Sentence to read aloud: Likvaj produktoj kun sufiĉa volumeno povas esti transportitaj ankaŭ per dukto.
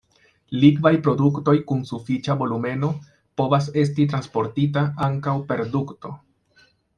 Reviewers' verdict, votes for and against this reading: rejected, 0, 2